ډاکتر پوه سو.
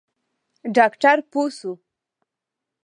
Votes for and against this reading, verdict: 0, 2, rejected